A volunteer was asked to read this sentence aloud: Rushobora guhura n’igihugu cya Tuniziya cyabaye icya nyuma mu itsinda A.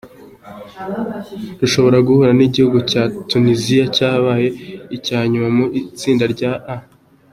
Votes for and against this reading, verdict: 2, 1, accepted